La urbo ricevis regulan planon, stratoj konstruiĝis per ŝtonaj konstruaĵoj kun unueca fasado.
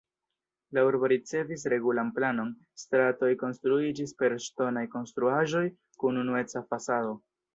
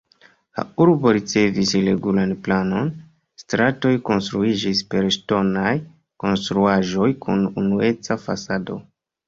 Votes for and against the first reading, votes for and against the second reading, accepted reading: 3, 0, 1, 2, first